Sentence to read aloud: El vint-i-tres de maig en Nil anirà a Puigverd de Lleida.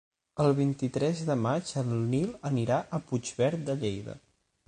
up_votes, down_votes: 9, 3